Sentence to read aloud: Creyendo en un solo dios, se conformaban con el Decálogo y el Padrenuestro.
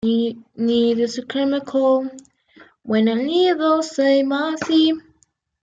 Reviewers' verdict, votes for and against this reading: rejected, 0, 2